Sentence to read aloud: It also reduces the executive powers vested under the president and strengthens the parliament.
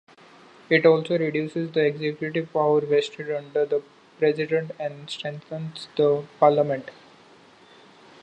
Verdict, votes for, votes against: rejected, 0, 2